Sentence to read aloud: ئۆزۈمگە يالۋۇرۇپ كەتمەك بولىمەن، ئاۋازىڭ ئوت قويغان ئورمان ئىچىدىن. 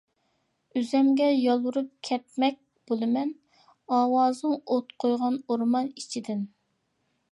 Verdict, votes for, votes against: accepted, 2, 0